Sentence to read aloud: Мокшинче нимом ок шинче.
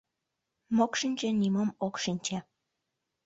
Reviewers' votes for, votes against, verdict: 2, 0, accepted